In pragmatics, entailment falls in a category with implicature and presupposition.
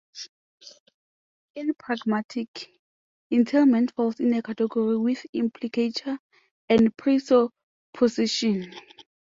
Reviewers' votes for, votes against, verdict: 0, 2, rejected